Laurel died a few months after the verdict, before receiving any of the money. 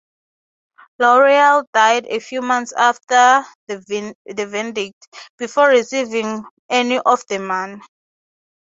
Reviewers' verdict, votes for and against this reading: rejected, 3, 6